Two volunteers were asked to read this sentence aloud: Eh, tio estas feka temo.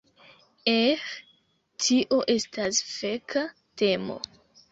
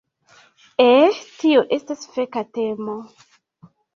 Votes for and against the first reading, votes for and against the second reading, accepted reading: 1, 2, 2, 0, second